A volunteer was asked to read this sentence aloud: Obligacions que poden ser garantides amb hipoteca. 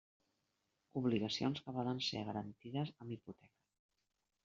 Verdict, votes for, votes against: rejected, 1, 2